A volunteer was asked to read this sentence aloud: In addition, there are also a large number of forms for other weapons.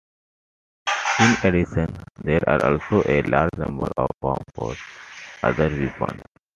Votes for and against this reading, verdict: 1, 2, rejected